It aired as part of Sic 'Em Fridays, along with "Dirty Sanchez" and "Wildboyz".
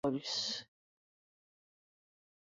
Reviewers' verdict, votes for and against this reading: rejected, 0, 2